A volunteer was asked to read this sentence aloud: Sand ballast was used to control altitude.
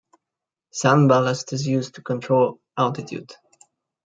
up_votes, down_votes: 0, 2